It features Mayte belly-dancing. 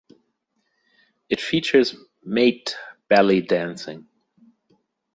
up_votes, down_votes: 1, 2